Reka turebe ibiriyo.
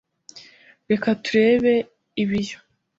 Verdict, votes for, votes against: rejected, 1, 2